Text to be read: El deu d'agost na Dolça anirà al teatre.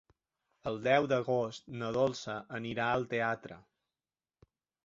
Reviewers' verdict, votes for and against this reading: accepted, 3, 0